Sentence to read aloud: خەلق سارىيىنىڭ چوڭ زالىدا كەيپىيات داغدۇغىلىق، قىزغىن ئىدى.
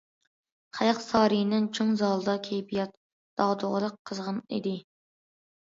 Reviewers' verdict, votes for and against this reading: accepted, 2, 0